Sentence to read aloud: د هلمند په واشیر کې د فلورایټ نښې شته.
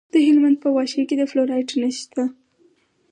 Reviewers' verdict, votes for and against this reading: accepted, 4, 0